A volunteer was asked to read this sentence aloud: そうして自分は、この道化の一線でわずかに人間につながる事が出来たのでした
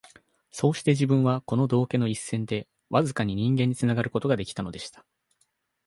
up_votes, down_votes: 2, 1